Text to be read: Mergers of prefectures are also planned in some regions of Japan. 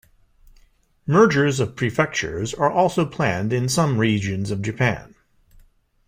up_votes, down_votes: 2, 0